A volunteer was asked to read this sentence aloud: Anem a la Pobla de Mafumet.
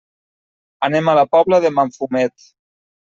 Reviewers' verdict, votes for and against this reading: rejected, 1, 2